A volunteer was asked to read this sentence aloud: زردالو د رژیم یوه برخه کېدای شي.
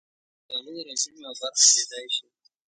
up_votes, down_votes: 1, 2